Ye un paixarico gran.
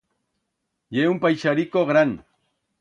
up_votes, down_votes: 2, 0